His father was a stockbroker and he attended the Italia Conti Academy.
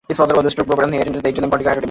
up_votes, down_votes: 0, 2